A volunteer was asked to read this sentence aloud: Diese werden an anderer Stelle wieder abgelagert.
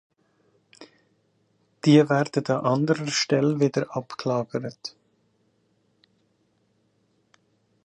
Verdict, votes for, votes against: rejected, 0, 3